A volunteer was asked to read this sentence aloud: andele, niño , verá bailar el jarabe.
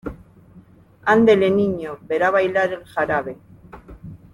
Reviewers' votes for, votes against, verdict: 2, 0, accepted